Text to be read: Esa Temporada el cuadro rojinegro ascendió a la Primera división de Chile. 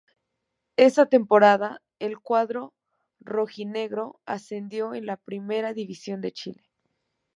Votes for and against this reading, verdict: 1, 2, rejected